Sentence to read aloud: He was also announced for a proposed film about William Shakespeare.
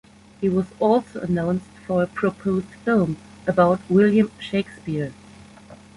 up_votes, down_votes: 2, 0